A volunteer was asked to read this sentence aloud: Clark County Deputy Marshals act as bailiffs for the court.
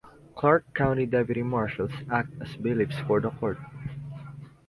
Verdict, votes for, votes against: accepted, 2, 0